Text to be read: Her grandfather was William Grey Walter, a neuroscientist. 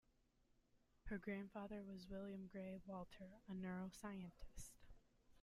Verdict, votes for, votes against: rejected, 1, 2